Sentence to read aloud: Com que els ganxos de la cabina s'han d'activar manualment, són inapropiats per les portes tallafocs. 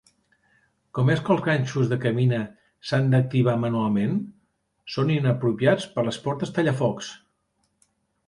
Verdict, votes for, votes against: rejected, 0, 3